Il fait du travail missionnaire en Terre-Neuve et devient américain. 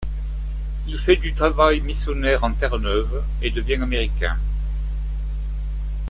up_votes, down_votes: 2, 0